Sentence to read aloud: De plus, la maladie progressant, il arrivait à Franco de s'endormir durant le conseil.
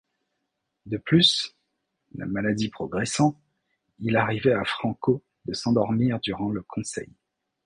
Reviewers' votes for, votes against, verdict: 1, 2, rejected